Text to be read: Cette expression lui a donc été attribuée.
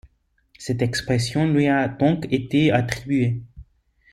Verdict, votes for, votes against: rejected, 1, 2